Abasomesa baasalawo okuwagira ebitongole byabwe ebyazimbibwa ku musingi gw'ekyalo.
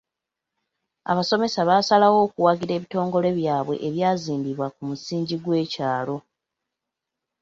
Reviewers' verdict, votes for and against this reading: accepted, 2, 1